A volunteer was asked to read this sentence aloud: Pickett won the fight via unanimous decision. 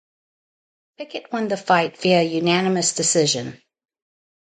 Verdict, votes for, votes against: accepted, 4, 0